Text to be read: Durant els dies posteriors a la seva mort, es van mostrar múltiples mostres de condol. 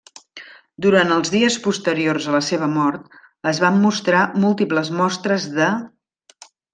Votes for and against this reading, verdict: 0, 2, rejected